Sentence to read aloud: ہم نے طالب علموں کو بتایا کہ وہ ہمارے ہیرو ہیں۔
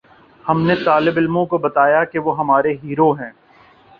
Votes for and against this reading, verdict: 2, 0, accepted